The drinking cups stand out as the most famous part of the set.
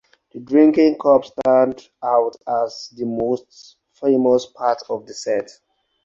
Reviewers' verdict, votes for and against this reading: rejected, 2, 4